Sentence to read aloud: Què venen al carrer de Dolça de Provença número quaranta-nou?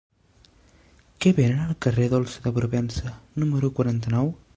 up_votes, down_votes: 0, 2